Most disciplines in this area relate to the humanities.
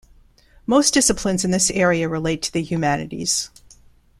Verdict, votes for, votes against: accepted, 2, 0